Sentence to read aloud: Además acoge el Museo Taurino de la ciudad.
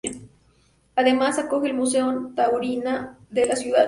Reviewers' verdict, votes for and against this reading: rejected, 0, 2